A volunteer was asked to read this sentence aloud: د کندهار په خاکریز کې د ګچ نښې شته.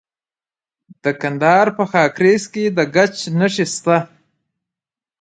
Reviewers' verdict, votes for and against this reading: rejected, 0, 2